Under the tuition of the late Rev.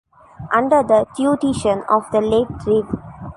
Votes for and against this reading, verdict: 0, 2, rejected